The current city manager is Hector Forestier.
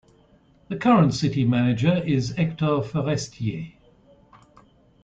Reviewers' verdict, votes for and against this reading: accepted, 2, 0